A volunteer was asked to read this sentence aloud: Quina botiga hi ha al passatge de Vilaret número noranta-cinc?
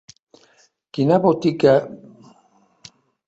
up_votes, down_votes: 0, 2